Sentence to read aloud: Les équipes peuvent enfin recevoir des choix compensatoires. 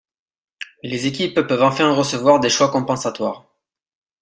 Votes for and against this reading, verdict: 1, 2, rejected